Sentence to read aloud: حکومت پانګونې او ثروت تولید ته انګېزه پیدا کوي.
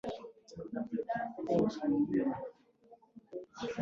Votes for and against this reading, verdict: 2, 0, accepted